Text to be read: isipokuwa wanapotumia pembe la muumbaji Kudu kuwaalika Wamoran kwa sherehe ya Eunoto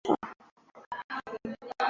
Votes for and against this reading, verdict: 0, 2, rejected